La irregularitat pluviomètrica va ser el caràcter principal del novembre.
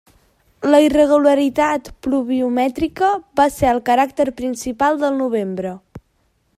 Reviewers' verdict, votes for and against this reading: accepted, 2, 0